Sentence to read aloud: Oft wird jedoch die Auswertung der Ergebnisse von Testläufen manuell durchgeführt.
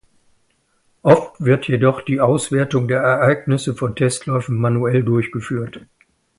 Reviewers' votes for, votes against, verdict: 0, 2, rejected